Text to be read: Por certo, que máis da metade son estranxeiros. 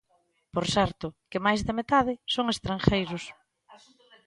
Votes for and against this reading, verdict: 1, 2, rejected